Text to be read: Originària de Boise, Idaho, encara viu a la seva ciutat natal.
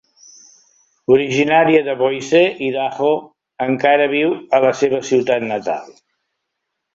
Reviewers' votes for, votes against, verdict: 2, 0, accepted